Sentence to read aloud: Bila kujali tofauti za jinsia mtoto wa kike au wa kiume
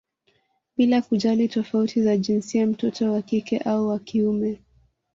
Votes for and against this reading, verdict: 3, 0, accepted